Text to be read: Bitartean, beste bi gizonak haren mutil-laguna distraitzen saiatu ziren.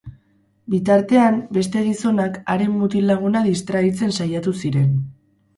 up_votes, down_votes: 0, 4